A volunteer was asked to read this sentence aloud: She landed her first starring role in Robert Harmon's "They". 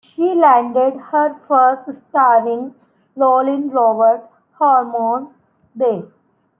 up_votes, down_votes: 0, 2